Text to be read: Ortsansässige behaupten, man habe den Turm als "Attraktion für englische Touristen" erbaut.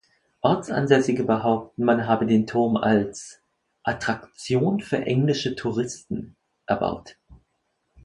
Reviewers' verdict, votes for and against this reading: accepted, 2, 0